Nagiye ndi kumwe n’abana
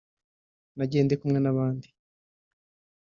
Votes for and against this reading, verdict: 0, 3, rejected